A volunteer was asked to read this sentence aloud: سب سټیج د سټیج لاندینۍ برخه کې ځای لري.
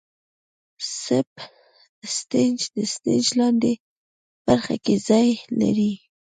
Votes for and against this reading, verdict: 2, 0, accepted